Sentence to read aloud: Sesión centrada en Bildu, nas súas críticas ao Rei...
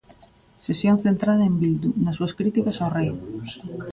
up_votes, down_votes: 2, 0